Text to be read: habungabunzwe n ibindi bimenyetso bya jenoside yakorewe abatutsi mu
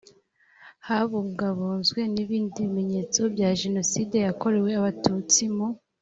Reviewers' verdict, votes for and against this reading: accepted, 2, 0